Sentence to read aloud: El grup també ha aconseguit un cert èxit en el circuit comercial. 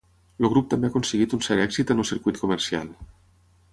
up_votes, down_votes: 3, 6